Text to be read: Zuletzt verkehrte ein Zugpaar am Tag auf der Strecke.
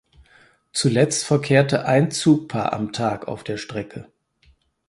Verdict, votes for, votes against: accepted, 4, 0